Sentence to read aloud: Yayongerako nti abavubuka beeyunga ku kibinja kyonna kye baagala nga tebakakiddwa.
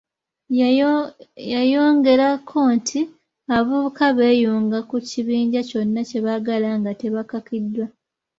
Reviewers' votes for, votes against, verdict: 1, 3, rejected